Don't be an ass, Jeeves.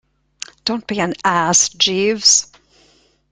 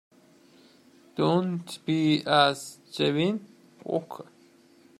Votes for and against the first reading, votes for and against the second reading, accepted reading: 2, 0, 0, 2, first